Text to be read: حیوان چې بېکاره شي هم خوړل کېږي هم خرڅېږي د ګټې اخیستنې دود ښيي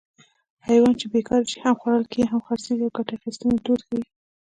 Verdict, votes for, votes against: accepted, 2, 0